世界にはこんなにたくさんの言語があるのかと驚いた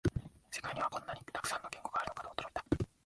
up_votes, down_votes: 2, 0